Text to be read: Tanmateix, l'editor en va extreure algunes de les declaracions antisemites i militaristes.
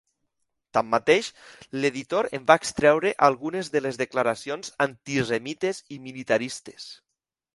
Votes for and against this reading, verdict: 2, 1, accepted